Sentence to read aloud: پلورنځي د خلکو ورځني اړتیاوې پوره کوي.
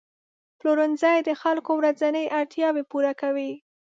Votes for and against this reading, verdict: 1, 2, rejected